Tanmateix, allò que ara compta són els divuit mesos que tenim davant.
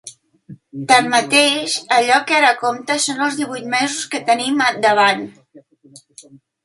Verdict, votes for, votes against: rejected, 0, 2